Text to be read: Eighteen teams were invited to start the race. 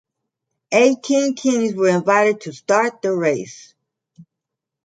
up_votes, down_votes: 2, 1